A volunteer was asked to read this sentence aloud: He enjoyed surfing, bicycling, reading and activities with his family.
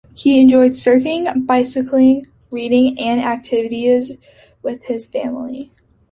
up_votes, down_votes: 2, 0